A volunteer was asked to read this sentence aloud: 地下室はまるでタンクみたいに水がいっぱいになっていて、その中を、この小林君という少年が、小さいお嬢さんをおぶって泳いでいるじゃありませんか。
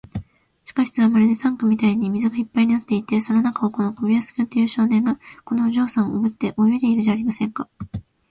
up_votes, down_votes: 2, 0